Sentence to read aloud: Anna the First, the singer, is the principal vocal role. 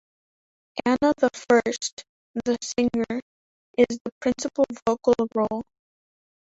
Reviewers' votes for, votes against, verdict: 0, 2, rejected